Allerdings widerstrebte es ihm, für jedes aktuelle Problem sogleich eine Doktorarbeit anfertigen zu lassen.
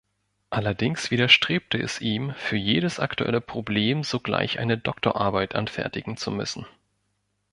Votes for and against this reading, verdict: 0, 2, rejected